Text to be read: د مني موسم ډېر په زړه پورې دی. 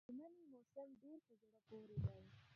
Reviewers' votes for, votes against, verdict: 0, 2, rejected